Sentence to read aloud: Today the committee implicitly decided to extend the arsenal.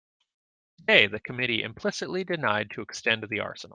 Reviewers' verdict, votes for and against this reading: rejected, 0, 2